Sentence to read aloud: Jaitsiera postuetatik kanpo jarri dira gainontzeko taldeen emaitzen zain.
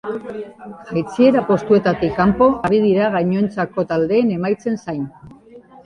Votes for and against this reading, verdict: 1, 2, rejected